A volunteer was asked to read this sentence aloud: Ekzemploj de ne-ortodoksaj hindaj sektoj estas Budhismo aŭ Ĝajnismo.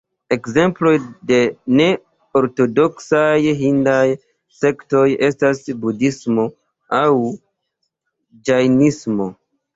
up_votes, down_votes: 1, 2